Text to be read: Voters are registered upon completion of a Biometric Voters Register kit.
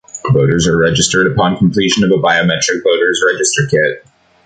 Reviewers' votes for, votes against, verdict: 0, 2, rejected